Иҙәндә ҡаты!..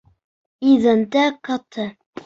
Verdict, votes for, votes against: rejected, 0, 2